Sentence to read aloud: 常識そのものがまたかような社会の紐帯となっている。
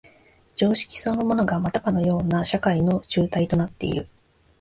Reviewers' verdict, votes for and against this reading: accepted, 2, 0